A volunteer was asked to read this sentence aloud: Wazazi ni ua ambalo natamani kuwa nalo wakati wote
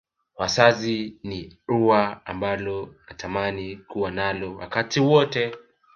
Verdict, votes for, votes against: rejected, 1, 2